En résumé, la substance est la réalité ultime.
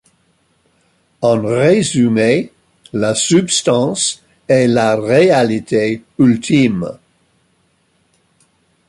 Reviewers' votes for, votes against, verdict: 2, 1, accepted